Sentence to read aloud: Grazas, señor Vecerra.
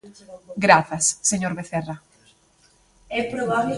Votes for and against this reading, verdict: 1, 2, rejected